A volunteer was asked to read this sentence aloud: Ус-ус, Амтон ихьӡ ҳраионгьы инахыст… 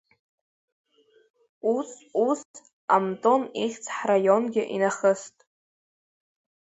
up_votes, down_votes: 0, 2